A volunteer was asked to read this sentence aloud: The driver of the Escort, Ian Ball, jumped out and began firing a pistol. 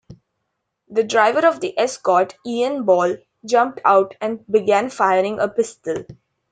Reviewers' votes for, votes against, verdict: 2, 0, accepted